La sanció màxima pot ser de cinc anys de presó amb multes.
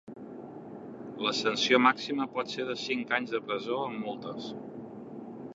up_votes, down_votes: 1, 2